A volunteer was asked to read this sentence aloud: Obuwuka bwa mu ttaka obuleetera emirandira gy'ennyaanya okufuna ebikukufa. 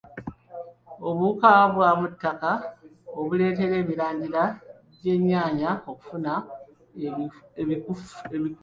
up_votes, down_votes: 0, 2